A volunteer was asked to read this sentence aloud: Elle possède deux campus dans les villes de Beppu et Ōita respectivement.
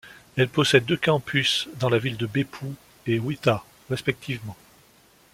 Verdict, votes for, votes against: rejected, 1, 2